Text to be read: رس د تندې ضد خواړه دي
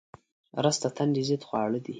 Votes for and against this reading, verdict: 2, 0, accepted